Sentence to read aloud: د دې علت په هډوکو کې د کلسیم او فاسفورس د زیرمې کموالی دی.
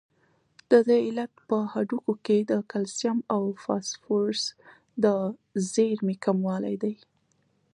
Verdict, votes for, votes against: accepted, 2, 0